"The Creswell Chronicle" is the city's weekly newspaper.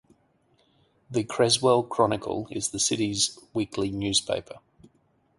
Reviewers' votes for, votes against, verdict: 2, 2, rejected